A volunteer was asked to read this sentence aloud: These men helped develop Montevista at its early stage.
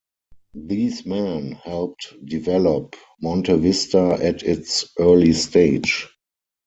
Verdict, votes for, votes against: accepted, 6, 0